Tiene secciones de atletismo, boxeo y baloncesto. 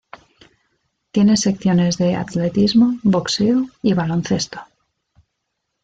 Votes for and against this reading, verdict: 2, 0, accepted